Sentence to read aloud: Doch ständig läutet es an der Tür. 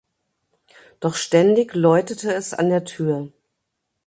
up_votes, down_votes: 0, 2